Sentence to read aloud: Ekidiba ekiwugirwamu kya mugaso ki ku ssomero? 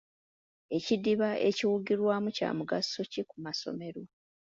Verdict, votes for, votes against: rejected, 1, 2